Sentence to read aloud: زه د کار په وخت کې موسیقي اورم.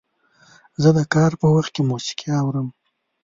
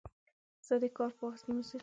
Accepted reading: first